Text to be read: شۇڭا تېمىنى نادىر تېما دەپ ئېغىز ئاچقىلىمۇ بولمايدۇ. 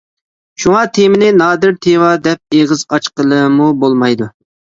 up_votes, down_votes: 2, 0